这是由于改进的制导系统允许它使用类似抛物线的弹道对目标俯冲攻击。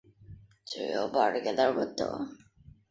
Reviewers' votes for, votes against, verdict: 0, 4, rejected